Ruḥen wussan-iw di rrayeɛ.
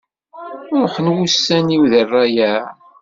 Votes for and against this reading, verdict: 1, 2, rejected